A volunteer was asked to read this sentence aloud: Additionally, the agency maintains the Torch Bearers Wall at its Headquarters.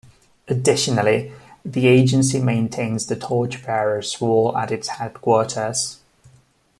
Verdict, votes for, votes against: accepted, 2, 0